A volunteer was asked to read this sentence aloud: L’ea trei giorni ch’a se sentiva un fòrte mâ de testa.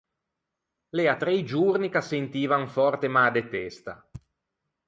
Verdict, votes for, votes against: rejected, 0, 4